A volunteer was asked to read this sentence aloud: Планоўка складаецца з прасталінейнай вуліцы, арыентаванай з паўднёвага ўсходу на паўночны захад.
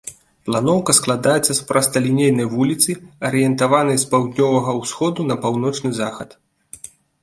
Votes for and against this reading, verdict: 2, 0, accepted